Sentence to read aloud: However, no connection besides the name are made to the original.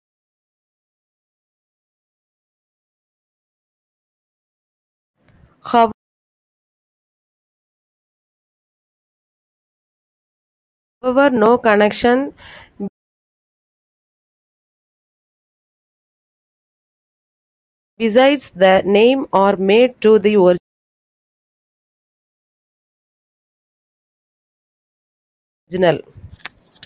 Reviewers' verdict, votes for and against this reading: rejected, 0, 2